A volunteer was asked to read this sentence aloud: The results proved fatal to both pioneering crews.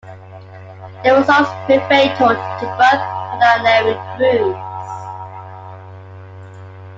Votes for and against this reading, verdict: 1, 2, rejected